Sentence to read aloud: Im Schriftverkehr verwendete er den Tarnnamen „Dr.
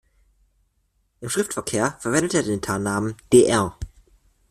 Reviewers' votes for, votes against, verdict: 0, 2, rejected